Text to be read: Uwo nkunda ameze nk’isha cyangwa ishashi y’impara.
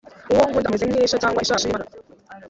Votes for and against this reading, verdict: 1, 2, rejected